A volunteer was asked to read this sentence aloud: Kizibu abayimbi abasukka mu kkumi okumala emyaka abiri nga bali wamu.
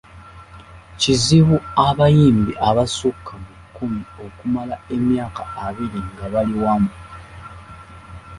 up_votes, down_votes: 2, 0